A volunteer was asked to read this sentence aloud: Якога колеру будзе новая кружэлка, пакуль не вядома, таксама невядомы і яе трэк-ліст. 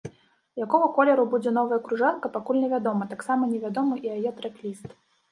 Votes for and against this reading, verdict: 0, 2, rejected